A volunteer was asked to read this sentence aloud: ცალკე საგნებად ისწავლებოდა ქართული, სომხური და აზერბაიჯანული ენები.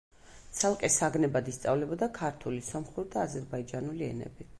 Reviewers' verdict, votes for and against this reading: accepted, 2, 0